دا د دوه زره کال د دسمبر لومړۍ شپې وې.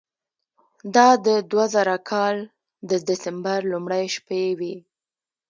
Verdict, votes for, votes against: rejected, 0, 2